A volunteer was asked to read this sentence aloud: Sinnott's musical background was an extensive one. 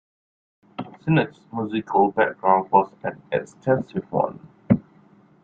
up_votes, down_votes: 2, 1